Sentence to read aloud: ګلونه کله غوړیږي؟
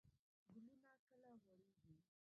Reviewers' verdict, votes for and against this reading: rejected, 1, 2